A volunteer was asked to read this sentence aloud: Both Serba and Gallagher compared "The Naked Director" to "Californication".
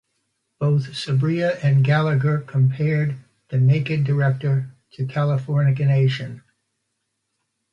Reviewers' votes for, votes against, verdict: 0, 2, rejected